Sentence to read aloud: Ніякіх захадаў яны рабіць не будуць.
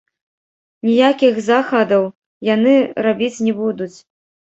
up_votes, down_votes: 0, 2